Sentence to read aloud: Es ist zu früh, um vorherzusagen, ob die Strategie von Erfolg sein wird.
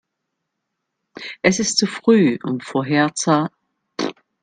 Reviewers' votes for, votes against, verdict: 0, 2, rejected